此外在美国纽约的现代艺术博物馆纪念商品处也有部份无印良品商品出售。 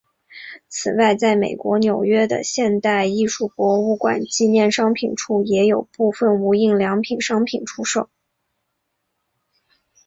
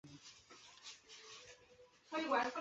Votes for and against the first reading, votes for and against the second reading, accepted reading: 4, 0, 0, 2, first